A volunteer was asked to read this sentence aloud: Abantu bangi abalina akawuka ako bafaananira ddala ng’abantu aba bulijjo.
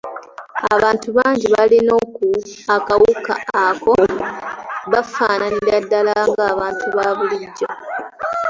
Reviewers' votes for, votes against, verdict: 2, 0, accepted